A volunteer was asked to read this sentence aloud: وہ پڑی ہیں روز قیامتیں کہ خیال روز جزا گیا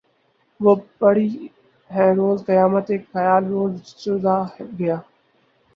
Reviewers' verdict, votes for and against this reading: rejected, 2, 6